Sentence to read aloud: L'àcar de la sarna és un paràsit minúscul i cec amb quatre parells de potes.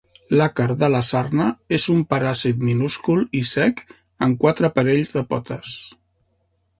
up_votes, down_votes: 3, 0